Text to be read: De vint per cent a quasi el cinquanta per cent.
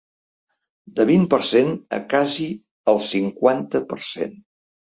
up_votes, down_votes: 0, 2